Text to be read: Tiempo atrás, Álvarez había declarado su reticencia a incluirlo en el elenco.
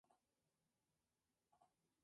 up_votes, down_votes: 0, 2